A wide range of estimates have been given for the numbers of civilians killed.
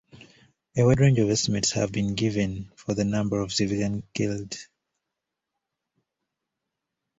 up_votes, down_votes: 0, 2